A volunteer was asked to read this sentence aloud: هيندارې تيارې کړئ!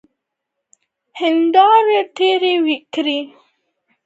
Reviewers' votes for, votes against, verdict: 1, 2, rejected